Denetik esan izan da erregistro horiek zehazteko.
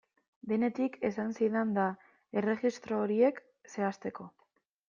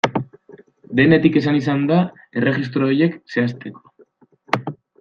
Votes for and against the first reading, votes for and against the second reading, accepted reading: 0, 2, 2, 0, second